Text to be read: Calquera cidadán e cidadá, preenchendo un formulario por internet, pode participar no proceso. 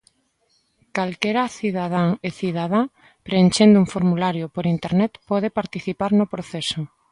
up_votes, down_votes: 2, 0